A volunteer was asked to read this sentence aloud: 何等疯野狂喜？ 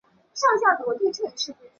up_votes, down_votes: 0, 2